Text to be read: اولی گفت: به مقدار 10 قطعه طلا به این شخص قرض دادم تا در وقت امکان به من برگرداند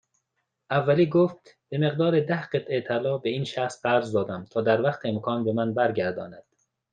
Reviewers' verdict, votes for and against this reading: rejected, 0, 2